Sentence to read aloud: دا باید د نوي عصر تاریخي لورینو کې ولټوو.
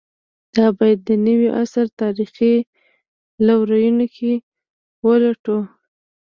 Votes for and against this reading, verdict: 1, 2, rejected